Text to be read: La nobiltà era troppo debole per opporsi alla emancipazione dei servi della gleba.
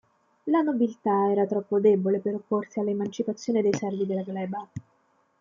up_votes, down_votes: 2, 0